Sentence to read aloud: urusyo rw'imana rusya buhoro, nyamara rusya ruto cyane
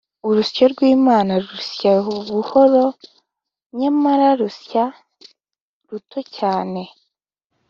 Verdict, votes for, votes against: accepted, 2, 0